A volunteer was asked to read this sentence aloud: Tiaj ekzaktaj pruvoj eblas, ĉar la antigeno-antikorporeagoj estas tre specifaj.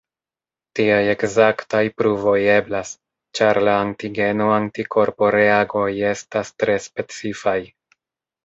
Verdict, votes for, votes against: rejected, 1, 2